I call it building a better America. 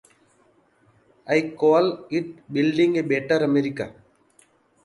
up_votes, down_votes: 2, 1